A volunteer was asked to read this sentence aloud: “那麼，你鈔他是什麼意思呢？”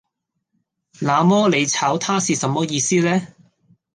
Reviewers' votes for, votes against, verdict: 1, 2, rejected